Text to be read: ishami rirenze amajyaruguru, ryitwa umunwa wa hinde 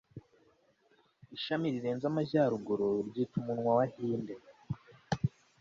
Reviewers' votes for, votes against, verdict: 2, 0, accepted